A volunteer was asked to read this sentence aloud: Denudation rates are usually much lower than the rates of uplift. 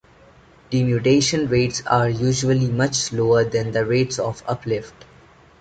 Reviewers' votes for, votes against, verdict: 2, 0, accepted